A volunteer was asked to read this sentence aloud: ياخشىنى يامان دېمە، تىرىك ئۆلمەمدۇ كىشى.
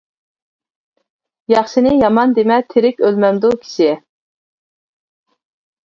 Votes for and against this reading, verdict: 2, 0, accepted